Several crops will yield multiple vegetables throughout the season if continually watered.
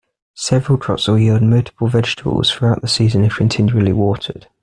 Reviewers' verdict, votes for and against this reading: accepted, 2, 0